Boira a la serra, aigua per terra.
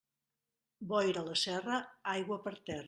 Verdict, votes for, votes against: rejected, 0, 2